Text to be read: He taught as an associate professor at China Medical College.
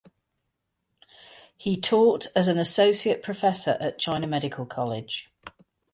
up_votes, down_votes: 4, 0